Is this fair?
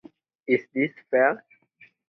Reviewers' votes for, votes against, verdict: 2, 0, accepted